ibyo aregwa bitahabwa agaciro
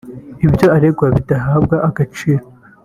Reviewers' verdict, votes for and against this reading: rejected, 0, 2